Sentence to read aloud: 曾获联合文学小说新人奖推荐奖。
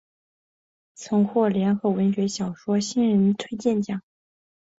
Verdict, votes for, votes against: rejected, 2, 3